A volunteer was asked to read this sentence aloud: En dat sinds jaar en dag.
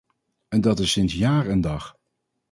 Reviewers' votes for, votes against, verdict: 0, 2, rejected